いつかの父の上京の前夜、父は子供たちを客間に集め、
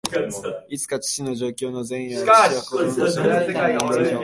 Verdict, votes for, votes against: rejected, 0, 2